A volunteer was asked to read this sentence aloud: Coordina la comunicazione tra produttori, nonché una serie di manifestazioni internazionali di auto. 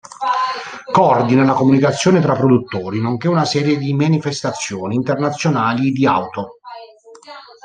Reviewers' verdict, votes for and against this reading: rejected, 1, 2